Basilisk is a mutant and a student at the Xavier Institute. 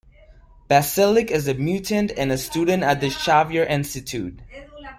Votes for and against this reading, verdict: 0, 2, rejected